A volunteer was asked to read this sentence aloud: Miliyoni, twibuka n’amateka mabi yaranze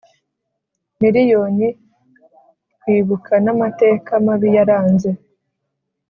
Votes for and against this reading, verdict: 4, 0, accepted